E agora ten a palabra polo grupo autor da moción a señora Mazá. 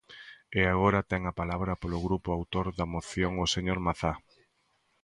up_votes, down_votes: 1, 2